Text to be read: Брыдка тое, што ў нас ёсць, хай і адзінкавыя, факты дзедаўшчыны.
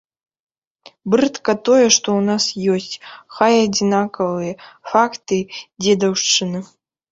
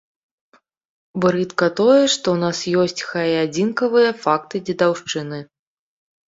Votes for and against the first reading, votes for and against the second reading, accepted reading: 0, 3, 2, 0, second